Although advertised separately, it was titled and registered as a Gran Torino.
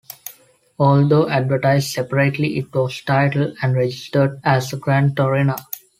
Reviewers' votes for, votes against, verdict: 2, 0, accepted